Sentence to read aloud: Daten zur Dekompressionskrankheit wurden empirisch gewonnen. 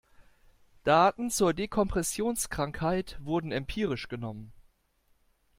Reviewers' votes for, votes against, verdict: 0, 2, rejected